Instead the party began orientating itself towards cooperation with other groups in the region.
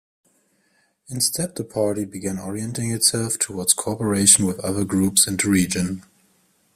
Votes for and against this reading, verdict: 0, 2, rejected